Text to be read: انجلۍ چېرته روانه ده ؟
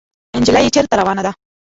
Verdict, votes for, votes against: rejected, 0, 2